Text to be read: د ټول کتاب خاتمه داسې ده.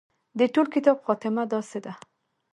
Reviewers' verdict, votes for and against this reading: accepted, 2, 0